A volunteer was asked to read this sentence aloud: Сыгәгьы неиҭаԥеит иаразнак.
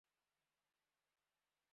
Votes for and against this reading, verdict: 0, 2, rejected